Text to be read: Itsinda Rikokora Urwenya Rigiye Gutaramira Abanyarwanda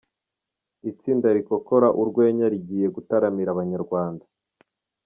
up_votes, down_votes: 2, 0